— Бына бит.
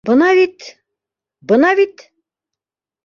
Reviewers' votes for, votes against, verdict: 1, 2, rejected